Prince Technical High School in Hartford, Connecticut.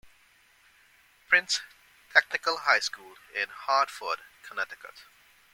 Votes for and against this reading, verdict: 0, 2, rejected